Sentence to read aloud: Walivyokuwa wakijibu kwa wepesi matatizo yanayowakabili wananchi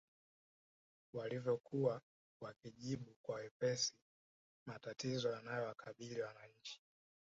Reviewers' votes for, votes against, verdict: 1, 2, rejected